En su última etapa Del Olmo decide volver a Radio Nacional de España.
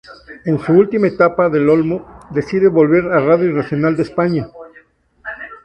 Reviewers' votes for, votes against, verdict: 0, 2, rejected